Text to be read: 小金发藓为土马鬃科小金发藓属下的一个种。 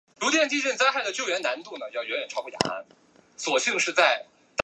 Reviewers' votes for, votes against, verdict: 0, 2, rejected